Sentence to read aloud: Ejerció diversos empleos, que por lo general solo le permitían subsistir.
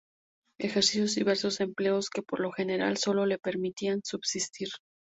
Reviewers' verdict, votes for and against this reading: accepted, 4, 0